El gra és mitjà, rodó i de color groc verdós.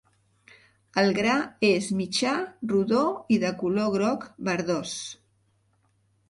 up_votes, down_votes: 3, 0